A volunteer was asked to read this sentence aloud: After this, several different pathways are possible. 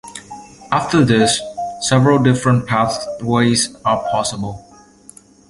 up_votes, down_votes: 2, 0